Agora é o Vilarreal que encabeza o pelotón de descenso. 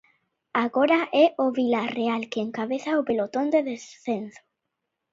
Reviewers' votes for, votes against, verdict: 0, 2, rejected